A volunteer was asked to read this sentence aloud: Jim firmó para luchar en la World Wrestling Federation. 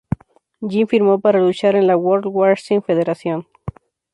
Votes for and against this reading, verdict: 2, 0, accepted